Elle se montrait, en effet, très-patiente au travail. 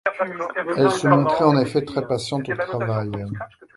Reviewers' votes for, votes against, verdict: 2, 1, accepted